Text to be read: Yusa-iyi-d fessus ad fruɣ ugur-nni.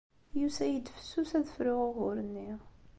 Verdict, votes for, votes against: accepted, 2, 0